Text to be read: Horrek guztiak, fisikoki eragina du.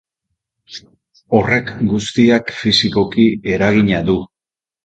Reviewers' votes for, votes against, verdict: 2, 0, accepted